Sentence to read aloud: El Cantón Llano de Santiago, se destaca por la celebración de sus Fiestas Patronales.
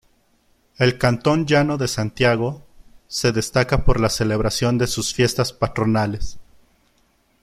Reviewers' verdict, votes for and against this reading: accepted, 2, 0